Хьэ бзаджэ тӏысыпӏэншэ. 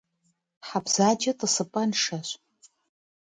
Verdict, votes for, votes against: rejected, 1, 2